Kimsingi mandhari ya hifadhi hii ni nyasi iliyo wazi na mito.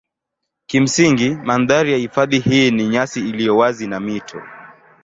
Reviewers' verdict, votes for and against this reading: accepted, 2, 0